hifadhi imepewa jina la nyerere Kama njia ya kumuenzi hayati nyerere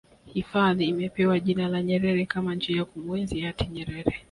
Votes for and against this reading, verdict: 2, 1, accepted